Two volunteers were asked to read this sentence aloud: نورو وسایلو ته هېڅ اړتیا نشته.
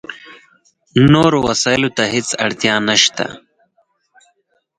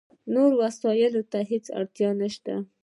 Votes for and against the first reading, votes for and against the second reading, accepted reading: 4, 0, 0, 2, first